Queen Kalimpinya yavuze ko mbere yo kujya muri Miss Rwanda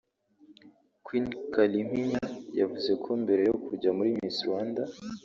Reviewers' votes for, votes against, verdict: 2, 0, accepted